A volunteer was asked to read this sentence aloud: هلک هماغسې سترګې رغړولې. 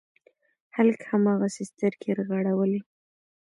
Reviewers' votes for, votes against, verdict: 2, 1, accepted